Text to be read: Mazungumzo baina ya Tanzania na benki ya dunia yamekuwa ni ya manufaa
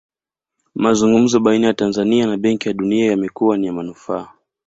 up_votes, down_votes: 2, 0